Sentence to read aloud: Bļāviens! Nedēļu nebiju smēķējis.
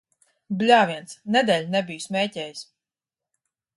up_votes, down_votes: 2, 0